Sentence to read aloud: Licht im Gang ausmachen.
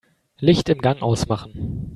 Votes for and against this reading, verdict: 3, 0, accepted